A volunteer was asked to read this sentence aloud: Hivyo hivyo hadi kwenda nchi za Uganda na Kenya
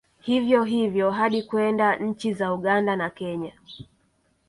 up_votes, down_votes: 2, 1